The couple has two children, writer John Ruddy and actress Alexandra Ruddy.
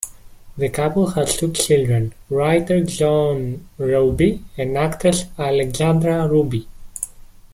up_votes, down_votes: 1, 2